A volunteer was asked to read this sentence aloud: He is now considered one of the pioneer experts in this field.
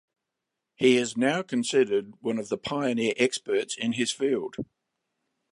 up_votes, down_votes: 0, 2